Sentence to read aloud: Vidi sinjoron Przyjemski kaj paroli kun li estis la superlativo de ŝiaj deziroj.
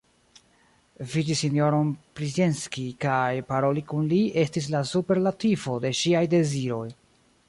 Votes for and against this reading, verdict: 0, 2, rejected